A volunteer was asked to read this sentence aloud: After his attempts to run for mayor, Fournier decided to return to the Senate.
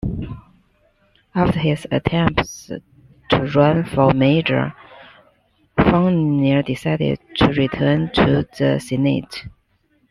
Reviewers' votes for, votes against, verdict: 1, 2, rejected